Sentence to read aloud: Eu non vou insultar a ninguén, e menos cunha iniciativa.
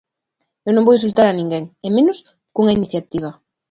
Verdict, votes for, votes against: accepted, 2, 0